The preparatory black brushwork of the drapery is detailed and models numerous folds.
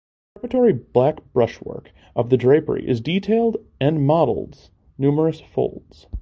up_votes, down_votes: 2, 1